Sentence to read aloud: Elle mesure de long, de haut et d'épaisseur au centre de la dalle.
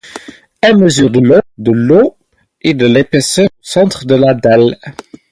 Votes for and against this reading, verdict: 0, 4, rejected